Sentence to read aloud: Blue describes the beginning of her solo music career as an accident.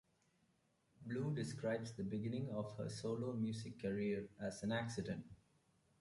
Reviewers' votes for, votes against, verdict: 2, 0, accepted